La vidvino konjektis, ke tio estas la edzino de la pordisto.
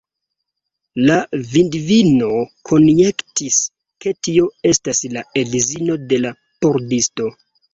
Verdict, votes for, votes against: rejected, 0, 2